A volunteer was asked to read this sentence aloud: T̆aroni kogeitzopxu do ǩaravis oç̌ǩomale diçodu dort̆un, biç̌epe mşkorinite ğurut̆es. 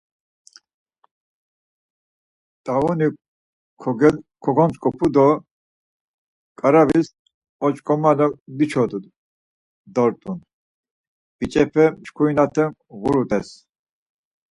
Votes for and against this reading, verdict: 2, 4, rejected